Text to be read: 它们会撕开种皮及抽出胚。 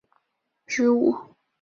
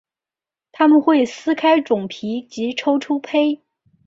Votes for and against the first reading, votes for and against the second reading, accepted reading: 0, 2, 3, 0, second